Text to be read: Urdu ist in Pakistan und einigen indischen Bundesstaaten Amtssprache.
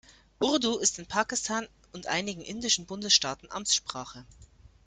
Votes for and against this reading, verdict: 2, 0, accepted